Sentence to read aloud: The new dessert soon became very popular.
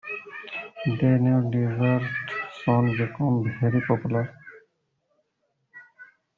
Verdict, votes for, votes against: rejected, 0, 2